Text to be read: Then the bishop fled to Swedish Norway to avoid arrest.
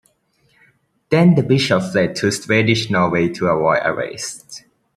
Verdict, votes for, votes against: rejected, 1, 2